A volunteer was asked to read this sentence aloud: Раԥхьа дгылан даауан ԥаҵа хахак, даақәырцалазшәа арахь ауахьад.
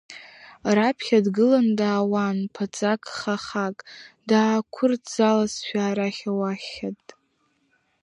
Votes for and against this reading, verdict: 0, 2, rejected